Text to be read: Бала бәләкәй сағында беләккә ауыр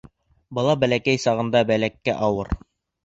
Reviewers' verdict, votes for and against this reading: rejected, 0, 2